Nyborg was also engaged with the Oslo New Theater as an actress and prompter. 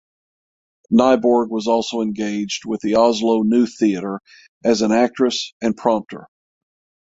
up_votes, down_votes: 6, 0